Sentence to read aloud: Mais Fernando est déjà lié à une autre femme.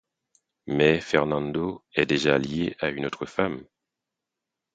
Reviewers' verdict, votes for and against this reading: accepted, 4, 0